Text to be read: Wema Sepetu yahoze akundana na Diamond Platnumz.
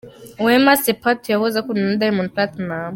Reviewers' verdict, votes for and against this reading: accepted, 2, 0